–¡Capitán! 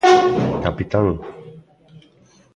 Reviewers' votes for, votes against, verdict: 2, 0, accepted